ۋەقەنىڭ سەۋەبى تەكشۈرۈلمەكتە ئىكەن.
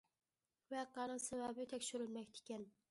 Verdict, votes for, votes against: rejected, 1, 2